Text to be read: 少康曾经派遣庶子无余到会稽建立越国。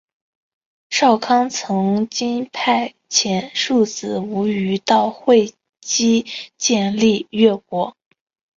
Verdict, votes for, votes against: accepted, 3, 1